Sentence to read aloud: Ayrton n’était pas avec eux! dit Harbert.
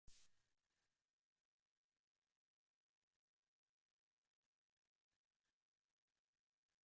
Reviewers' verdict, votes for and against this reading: rejected, 0, 2